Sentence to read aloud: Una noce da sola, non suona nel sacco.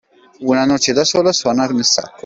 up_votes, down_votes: 0, 2